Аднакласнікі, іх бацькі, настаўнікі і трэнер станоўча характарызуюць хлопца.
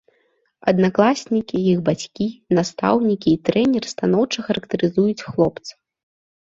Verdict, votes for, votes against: accepted, 2, 0